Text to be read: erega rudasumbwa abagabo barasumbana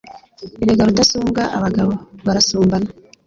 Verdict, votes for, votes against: accepted, 2, 0